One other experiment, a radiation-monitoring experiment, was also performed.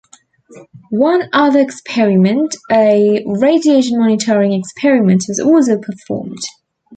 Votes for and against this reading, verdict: 2, 0, accepted